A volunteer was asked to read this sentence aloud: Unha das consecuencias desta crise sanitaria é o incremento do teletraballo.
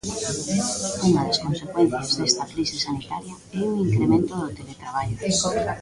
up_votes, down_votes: 0, 2